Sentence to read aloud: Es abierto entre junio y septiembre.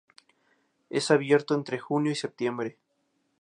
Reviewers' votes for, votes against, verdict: 2, 0, accepted